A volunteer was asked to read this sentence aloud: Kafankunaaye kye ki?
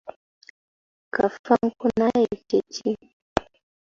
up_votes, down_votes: 0, 2